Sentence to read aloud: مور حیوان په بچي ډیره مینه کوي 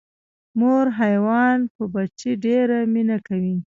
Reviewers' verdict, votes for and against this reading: rejected, 0, 2